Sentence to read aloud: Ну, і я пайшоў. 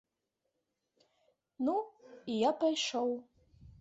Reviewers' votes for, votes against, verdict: 2, 0, accepted